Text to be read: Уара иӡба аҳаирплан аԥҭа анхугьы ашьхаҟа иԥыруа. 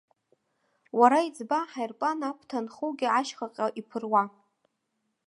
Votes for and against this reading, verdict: 2, 0, accepted